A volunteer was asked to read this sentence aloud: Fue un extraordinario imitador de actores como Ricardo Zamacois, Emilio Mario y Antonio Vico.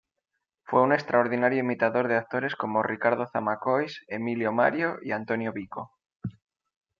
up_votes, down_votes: 2, 0